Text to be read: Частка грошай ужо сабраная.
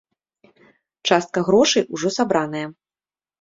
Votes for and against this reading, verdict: 3, 0, accepted